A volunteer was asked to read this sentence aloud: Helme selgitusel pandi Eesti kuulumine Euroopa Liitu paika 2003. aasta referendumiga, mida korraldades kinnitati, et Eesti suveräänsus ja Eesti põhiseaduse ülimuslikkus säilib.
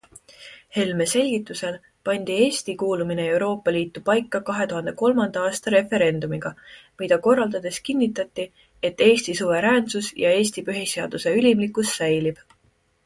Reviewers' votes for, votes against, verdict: 0, 2, rejected